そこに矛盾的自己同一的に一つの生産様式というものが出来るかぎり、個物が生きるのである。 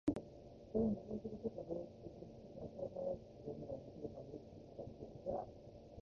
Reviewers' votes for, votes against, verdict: 0, 2, rejected